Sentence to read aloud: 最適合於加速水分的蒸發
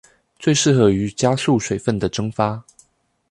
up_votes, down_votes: 2, 0